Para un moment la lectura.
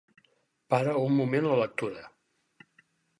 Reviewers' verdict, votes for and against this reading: accepted, 4, 0